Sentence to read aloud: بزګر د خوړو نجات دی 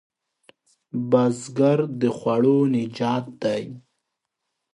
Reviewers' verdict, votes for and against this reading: accepted, 2, 0